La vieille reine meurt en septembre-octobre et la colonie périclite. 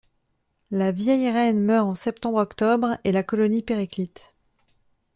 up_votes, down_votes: 2, 0